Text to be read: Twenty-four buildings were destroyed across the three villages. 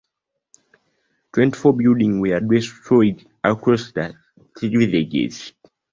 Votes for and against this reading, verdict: 1, 2, rejected